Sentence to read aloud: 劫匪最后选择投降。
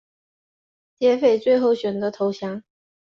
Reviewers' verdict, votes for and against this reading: rejected, 0, 3